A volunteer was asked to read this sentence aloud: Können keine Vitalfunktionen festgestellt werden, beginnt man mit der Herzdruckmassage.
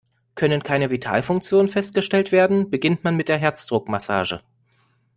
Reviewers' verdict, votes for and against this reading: accepted, 2, 0